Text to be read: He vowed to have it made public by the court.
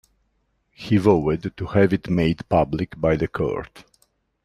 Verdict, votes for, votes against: rejected, 0, 2